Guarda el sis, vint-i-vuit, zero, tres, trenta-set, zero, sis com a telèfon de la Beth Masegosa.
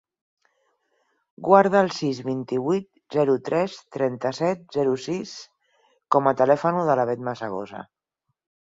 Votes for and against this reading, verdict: 0, 4, rejected